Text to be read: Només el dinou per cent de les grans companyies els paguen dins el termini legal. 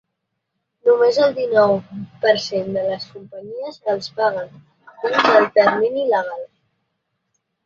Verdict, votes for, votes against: rejected, 0, 2